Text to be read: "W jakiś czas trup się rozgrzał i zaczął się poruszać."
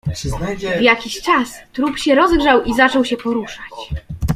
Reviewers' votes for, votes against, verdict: 0, 2, rejected